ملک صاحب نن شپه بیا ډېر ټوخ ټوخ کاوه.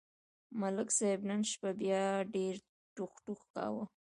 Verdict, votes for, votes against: rejected, 0, 2